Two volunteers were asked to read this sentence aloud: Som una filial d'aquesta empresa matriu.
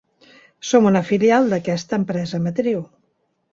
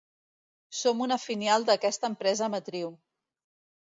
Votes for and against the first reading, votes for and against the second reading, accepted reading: 3, 0, 1, 2, first